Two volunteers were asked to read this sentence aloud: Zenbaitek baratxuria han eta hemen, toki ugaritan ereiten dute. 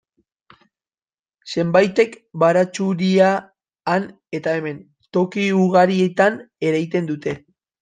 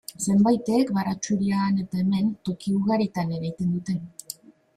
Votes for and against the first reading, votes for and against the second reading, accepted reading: 1, 2, 2, 0, second